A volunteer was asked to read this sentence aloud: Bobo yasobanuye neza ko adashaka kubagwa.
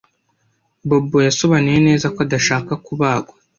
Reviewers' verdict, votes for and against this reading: accepted, 2, 0